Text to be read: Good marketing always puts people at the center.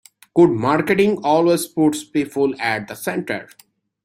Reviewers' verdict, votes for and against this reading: accepted, 2, 0